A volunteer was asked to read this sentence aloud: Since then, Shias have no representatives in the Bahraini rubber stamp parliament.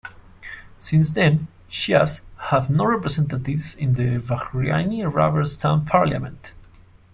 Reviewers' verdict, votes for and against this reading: accepted, 2, 0